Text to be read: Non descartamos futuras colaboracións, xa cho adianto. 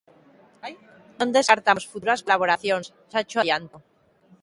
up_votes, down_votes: 1, 2